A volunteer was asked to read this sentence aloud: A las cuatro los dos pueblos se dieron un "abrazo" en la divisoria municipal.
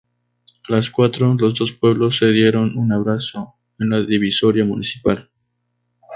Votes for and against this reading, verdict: 0, 2, rejected